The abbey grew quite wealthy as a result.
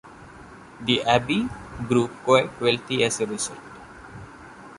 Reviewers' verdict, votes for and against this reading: accepted, 2, 0